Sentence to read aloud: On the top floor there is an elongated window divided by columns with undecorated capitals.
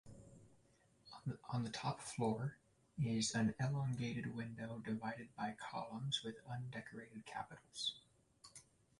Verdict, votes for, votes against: rejected, 0, 2